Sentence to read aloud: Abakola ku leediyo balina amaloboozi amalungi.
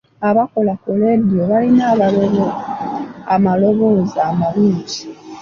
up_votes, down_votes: 1, 2